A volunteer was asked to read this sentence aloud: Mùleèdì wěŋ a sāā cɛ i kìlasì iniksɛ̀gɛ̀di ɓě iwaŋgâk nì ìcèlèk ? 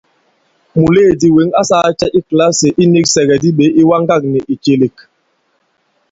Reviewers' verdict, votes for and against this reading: accepted, 2, 0